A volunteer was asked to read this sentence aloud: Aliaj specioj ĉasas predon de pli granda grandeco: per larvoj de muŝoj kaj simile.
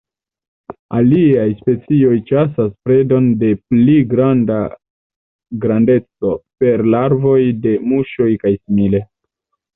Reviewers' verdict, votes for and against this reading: accepted, 2, 0